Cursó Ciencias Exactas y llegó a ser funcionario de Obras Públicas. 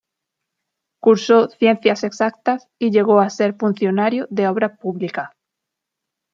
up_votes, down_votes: 2, 0